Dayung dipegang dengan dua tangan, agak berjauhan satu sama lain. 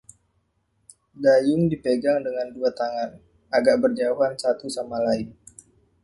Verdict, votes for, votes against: accepted, 2, 0